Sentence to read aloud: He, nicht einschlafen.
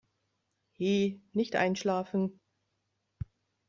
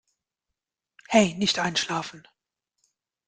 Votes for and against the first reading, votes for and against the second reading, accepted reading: 2, 0, 0, 2, first